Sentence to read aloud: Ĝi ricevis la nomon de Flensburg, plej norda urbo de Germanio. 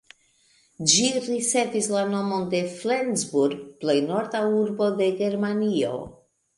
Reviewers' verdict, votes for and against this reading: rejected, 1, 2